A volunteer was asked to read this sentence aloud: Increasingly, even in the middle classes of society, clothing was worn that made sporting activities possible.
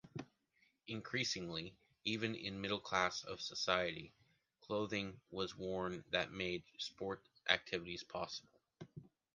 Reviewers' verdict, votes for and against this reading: rejected, 0, 2